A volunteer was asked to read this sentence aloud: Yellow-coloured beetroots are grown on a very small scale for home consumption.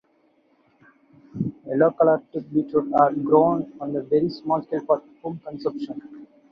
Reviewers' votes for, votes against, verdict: 0, 2, rejected